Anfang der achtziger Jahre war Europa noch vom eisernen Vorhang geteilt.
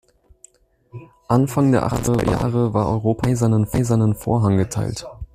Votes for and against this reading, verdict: 0, 2, rejected